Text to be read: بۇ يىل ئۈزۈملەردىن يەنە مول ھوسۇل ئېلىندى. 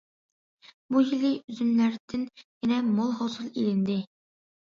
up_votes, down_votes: 0, 2